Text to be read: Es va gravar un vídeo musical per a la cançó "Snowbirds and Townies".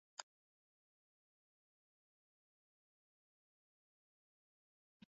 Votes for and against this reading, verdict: 0, 2, rejected